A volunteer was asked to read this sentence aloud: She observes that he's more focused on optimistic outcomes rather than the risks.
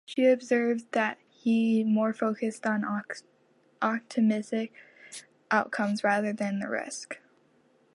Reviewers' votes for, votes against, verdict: 1, 2, rejected